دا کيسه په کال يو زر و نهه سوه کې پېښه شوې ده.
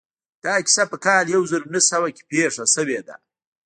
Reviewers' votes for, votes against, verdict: 3, 0, accepted